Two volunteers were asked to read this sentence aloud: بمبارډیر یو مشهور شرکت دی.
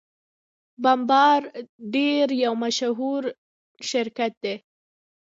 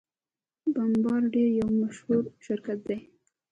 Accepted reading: second